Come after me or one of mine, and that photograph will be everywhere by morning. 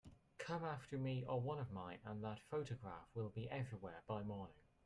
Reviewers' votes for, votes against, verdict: 0, 2, rejected